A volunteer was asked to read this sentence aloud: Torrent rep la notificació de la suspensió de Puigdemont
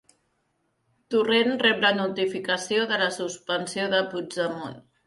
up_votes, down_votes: 2, 0